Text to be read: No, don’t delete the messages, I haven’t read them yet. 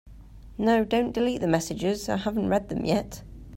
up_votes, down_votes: 2, 0